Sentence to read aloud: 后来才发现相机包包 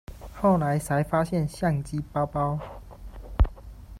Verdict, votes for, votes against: accepted, 2, 0